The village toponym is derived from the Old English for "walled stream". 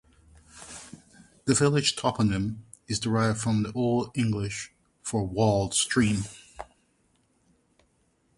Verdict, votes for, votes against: accepted, 4, 0